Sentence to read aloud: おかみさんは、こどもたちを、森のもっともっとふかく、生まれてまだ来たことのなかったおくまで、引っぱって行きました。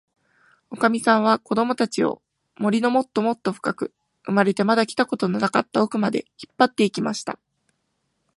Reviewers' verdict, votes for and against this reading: accepted, 2, 0